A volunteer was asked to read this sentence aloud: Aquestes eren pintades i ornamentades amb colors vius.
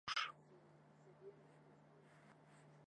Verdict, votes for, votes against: rejected, 0, 2